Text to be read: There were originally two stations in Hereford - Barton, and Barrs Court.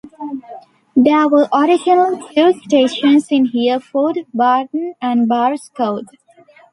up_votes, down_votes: 1, 2